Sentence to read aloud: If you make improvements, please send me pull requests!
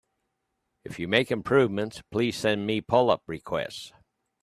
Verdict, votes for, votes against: rejected, 0, 3